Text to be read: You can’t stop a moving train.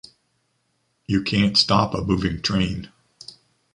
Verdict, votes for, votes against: accepted, 2, 0